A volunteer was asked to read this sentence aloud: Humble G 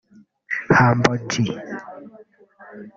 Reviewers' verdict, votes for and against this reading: rejected, 0, 2